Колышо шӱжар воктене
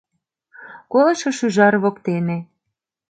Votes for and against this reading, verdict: 2, 0, accepted